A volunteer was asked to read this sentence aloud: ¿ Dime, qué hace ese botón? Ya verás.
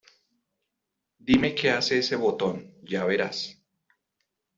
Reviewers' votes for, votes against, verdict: 2, 0, accepted